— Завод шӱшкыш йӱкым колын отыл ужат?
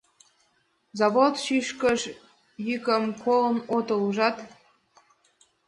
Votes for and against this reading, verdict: 1, 2, rejected